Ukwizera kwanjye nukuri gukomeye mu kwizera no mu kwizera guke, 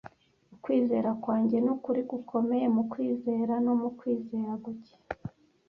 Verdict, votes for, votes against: accepted, 2, 0